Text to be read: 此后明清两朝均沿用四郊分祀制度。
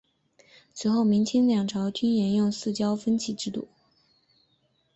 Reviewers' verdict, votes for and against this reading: accepted, 2, 0